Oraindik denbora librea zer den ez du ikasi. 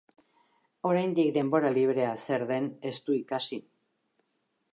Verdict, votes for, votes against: accepted, 2, 0